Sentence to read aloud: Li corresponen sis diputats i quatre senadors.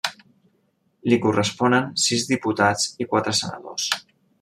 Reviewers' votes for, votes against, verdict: 3, 0, accepted